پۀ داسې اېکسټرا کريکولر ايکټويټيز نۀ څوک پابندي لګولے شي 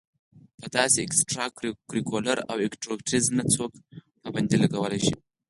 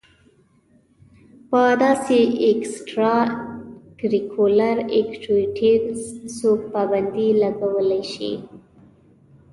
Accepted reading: first